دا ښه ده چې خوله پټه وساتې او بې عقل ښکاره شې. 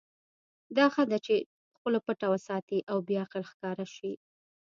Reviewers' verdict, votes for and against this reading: accepted, 2, 0